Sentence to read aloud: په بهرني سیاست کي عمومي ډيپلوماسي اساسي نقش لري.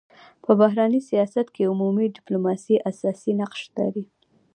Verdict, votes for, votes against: rejected, 1, 2